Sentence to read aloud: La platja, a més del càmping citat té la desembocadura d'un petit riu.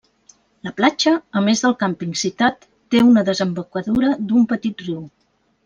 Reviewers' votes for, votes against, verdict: 1, 2, rejected